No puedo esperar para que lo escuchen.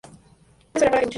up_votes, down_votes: 0, 2